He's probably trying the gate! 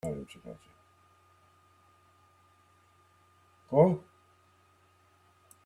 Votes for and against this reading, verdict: 0, 2, rejected